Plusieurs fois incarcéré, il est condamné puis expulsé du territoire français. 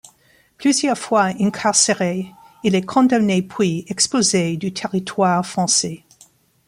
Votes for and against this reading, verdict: 1, 2, rejected